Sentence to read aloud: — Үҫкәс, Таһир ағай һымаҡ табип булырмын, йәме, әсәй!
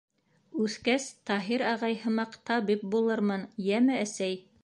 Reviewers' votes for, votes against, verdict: 0, 2, rejected